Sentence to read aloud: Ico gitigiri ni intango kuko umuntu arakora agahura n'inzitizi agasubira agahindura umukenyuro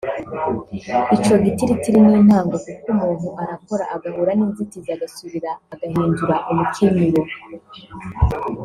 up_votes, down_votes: 1, 2